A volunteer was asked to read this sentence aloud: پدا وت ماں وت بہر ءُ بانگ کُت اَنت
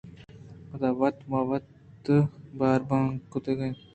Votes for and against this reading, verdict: 1, 2, rejected